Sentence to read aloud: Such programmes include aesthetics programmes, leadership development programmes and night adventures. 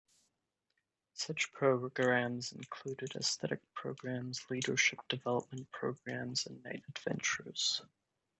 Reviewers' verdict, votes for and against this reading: rejected, 0, 2